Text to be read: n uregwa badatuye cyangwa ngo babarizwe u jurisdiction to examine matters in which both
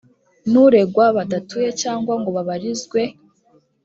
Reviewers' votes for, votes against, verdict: 0, 2, rejected